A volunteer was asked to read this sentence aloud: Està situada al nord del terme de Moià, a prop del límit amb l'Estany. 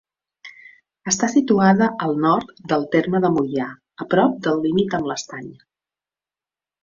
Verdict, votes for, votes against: accepted, 2, 0